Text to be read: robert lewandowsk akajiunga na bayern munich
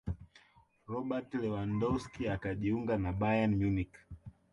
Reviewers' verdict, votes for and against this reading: rejected, 0, 2